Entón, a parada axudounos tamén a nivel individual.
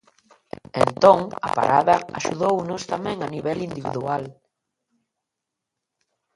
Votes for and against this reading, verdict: 0, 2, rejected